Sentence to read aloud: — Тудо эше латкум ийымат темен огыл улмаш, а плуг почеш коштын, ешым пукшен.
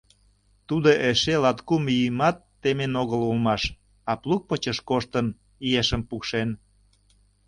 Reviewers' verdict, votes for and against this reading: accepted, 2, 0